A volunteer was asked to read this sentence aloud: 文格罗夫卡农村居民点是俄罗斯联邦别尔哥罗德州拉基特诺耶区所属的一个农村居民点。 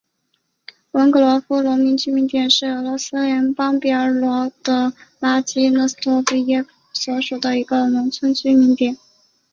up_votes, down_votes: 0, 2